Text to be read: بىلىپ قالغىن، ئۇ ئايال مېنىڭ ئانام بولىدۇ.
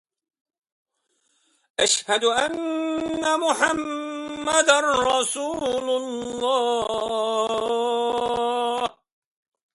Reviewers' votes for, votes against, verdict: 0, 2, rejected